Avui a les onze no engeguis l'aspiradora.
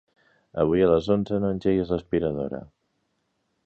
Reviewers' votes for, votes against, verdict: 4, 0, accepted